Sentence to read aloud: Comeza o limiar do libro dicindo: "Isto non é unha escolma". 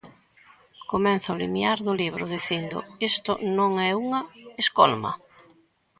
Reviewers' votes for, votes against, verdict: 0, 2, rejected